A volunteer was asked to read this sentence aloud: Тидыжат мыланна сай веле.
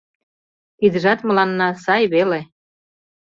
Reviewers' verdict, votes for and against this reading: accepted, 2, 0